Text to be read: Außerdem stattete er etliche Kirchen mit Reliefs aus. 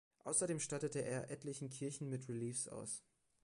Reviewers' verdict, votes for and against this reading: rejected, 1, 2